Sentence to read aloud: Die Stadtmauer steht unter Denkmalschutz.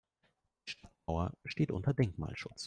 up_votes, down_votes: 0, 2